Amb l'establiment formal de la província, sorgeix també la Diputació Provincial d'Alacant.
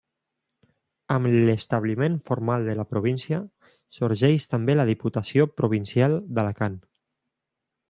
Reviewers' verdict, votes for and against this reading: accepted, 3, 0